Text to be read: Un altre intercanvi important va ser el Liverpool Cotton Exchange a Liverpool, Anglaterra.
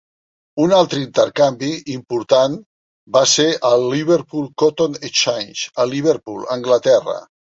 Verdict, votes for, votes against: accepted, 3, 0